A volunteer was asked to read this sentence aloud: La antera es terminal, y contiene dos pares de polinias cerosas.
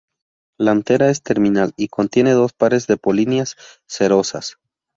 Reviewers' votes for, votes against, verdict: 2, 0, accepted